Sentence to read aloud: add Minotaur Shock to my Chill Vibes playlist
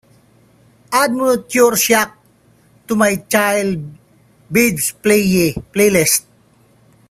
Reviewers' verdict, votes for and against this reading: rejected, 0, 2